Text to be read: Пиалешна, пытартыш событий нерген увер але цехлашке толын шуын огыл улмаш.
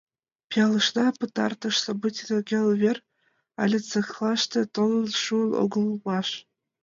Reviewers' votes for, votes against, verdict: 0, 2, rejected